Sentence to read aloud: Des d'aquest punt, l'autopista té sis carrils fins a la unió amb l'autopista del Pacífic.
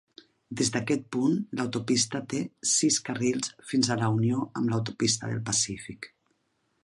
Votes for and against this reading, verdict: 3, 0, accepted